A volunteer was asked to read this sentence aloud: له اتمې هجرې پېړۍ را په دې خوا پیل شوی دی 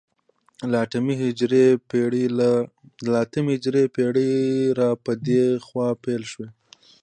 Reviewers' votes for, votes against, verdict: 2, 0, accepted